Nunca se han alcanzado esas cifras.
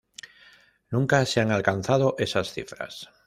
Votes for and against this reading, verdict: 2, 0, accepted